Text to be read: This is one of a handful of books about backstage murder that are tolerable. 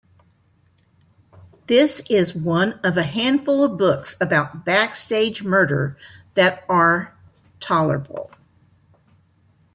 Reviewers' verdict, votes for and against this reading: accepted, 2, 0